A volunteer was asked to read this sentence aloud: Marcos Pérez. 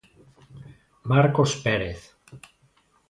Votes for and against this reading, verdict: 2, 0, accepted